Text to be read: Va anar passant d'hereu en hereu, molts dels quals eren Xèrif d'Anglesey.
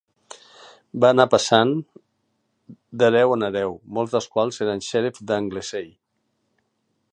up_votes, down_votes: 2, 0